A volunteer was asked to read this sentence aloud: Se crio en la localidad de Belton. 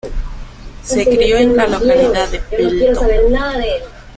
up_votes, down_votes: 0, 2